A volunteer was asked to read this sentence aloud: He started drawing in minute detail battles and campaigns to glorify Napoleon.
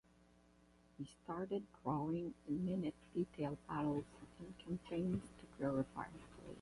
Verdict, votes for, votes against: rejected, 4, 8